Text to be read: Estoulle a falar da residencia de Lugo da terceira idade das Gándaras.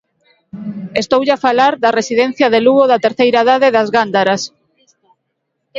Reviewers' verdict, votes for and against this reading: accepted, 2, 1